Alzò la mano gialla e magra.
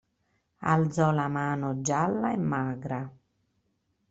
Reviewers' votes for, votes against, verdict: 2, 0, accepted